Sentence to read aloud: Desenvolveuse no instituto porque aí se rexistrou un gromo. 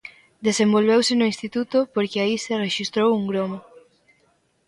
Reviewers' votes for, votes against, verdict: 1, 2, rejected